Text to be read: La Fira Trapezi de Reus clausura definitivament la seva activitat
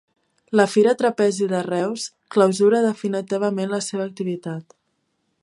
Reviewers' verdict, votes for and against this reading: rejected, 1, 2